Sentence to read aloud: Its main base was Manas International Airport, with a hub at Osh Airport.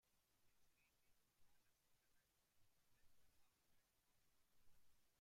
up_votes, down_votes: 0, 2